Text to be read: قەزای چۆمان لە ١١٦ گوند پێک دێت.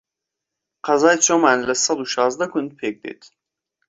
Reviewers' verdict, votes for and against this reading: rejected, 0, 2